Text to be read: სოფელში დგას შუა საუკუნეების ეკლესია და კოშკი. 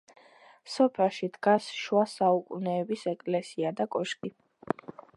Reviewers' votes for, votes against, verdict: 2, 0, accepted